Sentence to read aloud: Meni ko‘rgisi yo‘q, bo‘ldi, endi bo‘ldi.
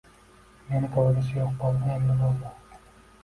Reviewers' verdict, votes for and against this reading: rejected, 0, 2